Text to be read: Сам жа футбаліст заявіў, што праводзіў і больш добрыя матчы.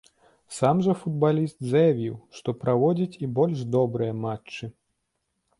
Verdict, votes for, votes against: rejected, 0, 2